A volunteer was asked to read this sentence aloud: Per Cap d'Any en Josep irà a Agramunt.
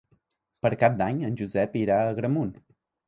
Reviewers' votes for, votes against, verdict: 3, 0, accepted